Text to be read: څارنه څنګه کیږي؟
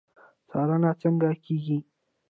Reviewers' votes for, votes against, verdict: 2, 0, accepted